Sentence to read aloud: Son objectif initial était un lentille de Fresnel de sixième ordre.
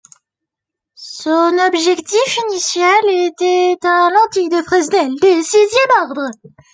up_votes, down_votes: 2, 1